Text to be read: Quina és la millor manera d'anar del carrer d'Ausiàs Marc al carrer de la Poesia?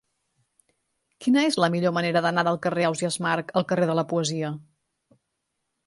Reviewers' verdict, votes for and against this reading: rejected, 0, 2